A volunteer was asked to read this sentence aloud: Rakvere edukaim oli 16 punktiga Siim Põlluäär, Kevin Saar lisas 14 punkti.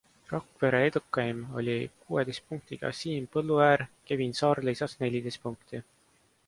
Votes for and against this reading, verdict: 0, 2, rejected